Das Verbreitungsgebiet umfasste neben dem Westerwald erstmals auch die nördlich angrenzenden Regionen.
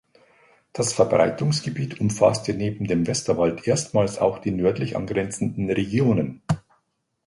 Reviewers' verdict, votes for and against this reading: accepted, 2, 0